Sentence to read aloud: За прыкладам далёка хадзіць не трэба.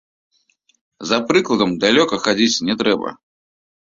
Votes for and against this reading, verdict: 2, 0, accepted